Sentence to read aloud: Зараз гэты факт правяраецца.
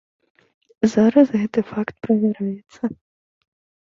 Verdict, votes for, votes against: accepted, 2, 1